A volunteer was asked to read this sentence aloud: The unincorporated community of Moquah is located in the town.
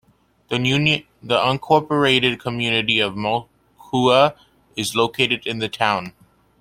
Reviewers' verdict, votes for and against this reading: rejected, 0, 2